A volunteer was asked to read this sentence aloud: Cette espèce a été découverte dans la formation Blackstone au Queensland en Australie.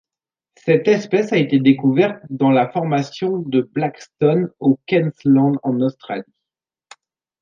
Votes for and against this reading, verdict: 0, 2, rejected